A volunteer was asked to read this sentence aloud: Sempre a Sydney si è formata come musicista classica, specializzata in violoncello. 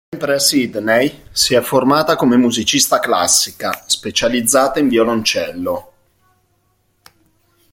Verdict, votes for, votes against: rejected, 1, 2